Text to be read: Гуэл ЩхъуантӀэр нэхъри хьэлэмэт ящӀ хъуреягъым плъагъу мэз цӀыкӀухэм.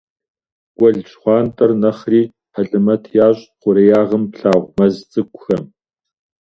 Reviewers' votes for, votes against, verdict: 2, 0, accepted